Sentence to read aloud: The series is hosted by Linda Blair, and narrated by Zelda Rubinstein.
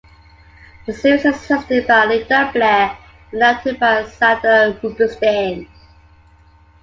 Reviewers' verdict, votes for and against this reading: rejected, 1, 2